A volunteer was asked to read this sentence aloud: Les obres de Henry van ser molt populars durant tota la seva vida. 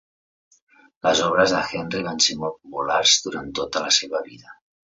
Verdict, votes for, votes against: accepted, 3, 0